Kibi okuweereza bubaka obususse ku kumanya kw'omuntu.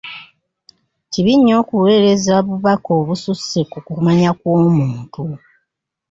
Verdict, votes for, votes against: accepted, 2, 0